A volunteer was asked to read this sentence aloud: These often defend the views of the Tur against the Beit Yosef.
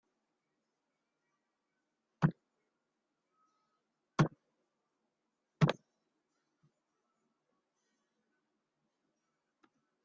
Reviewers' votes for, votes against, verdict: 0, 2, rejected